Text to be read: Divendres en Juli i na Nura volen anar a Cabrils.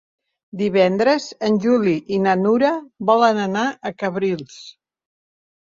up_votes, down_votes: 3, 0